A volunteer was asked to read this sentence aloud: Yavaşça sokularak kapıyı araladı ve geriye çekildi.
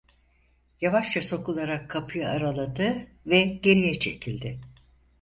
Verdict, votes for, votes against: accepted, 4, 0